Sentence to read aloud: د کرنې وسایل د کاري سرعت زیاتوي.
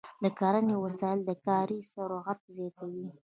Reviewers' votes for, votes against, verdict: 1, 2, rejected